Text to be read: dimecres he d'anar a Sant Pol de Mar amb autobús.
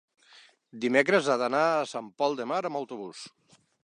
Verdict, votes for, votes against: rejected, 1, 2